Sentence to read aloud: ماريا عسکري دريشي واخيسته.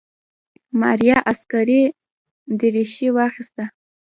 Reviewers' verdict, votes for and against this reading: rejected, 1, 2